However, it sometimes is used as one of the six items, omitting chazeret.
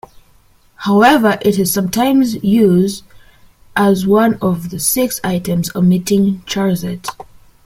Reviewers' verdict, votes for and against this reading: rejected, 1, 2